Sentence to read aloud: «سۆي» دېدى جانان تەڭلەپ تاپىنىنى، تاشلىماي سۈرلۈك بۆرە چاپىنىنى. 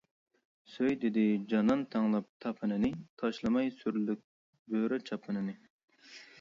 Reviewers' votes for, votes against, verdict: 2, 0, accepted